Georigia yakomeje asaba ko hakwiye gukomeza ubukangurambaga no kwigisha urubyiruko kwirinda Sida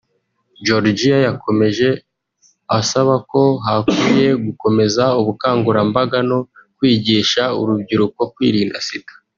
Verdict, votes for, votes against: accepted, 2, 0